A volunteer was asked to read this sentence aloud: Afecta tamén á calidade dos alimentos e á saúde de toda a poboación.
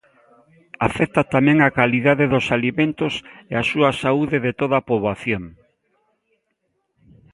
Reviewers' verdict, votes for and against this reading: rejected, 1, 3